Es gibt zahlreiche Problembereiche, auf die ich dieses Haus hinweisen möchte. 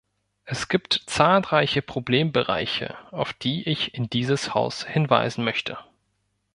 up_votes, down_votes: 0, 2